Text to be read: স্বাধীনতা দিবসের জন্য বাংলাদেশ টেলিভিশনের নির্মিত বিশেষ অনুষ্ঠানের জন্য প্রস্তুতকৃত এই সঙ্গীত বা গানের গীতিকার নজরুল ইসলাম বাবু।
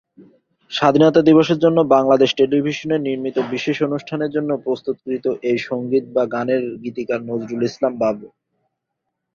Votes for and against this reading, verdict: 7, 0, accepted